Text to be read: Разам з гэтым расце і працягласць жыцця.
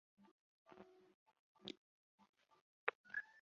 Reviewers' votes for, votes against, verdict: 0, 2, rejected